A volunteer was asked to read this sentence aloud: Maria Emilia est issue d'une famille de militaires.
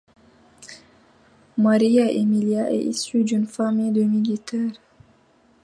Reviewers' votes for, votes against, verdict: 2, 1, accepted